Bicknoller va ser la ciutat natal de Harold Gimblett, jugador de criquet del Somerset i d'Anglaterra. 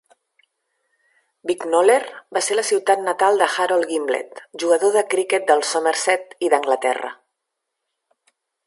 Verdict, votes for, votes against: accepted, 2, 0